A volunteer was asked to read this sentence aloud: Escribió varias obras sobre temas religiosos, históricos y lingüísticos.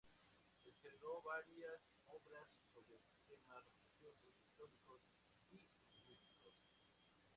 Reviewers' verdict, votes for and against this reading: rejected, 0, 4